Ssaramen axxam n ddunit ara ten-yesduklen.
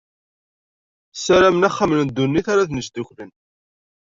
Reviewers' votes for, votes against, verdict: 2, 0, accepted